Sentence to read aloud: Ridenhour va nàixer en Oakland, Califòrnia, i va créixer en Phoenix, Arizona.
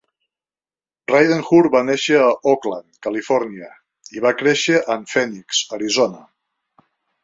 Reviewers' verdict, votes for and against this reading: accepted, 2, 0